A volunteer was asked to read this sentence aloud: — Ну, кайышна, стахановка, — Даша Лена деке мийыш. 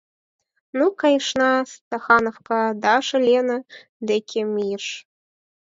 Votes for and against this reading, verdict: 4, 0, accepted